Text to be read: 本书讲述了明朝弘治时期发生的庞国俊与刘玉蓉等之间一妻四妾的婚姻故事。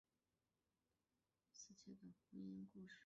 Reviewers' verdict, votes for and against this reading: rejected, 2, 4